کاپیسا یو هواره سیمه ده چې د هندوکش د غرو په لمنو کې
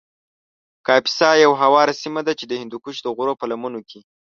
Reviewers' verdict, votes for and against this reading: accepted, 2, 0